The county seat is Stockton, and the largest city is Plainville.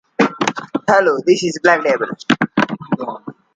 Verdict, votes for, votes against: rejected, 0, 2